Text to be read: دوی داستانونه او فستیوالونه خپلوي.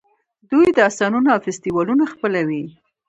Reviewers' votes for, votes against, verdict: 2, 1, accepted